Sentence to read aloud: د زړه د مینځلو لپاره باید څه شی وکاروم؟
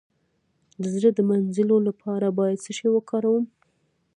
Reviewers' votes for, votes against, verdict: 0, 2, rejected